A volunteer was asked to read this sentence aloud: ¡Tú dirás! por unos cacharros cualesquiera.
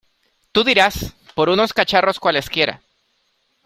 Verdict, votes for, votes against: accepted, 2, 0